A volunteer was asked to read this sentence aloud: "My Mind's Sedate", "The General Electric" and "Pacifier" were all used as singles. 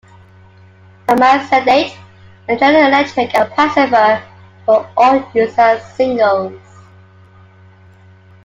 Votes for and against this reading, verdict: 2, 1, accepted